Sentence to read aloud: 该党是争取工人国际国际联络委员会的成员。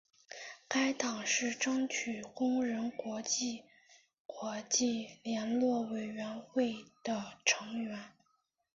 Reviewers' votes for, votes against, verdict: 2, 1, accepted